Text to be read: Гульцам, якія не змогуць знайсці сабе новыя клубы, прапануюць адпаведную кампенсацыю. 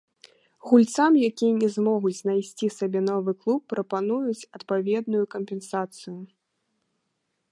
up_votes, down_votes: 0, 2